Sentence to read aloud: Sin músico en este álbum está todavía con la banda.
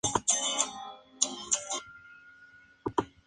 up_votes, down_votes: 0, 2